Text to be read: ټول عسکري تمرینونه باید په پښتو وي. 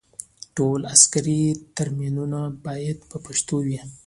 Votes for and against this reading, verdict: 2, 0, accepted